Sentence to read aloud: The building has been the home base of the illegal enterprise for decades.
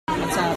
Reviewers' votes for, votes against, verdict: 0, 2, rejected